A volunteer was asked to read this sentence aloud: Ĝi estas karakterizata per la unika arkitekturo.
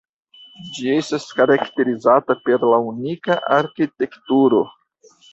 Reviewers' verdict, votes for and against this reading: accepted, 2, 0